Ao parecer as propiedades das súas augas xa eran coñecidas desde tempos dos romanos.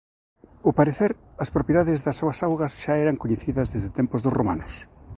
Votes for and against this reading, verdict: 0, 2, rejected